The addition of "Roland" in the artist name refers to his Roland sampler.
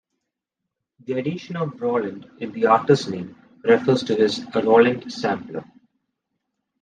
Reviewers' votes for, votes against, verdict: 0, 2, rejected